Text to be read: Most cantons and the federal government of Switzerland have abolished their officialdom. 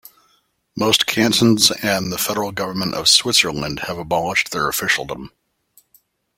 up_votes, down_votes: 2, 0